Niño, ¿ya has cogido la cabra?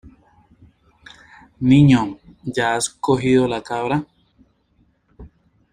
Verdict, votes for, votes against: accepted, 2, 0